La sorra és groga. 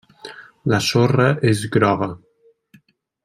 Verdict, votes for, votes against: accepted, 3, 0